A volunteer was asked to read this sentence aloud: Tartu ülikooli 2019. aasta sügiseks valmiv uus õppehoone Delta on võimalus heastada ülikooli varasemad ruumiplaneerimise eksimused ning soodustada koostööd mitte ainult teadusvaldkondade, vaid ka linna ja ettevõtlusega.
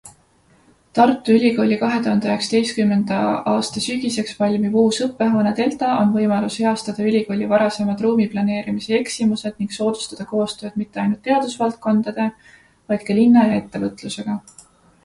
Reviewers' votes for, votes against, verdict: 0, 2, rejected